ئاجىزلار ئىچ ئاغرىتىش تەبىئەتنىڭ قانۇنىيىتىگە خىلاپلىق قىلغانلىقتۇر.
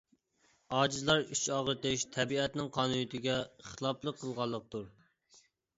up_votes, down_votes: 2, 0